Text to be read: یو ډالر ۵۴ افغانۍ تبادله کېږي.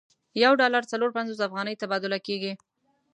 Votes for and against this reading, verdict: 0, 2, rejected